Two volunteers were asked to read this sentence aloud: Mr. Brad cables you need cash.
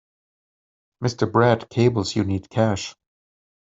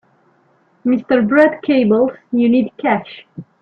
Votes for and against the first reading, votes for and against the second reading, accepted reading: 4, 0, 1, 2, first